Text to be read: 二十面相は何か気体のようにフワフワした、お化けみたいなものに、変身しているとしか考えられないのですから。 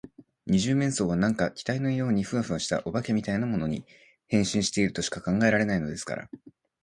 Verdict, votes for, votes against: accepted, 2, 0